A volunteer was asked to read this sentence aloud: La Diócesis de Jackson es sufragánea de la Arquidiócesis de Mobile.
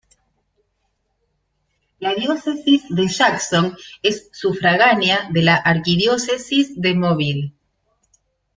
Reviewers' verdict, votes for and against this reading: rejected, 0, 2